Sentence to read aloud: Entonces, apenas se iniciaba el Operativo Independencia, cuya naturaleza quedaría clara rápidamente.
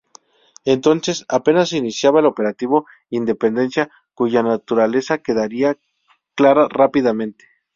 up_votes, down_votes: 2, 2